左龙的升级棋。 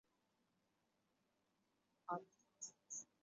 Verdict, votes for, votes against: rejected, 0, 2